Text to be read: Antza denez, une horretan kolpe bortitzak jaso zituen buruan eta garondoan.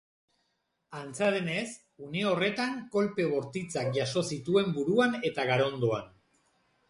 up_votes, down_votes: 2, 0